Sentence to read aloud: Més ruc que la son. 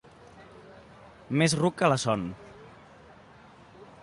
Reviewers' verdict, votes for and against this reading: accepted, 2, 0